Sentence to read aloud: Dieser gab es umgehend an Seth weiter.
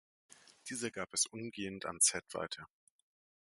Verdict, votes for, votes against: accepted, 2, 0